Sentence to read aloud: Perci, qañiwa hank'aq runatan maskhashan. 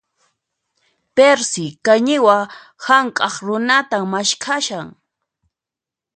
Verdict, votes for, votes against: accepted, 2, 0